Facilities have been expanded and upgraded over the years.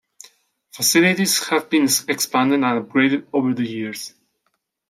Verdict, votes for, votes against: rejected, 0, 2